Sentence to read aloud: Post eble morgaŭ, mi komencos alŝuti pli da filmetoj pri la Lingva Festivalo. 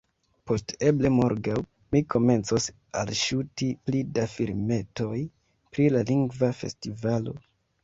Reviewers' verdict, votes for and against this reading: rejected, 1, 2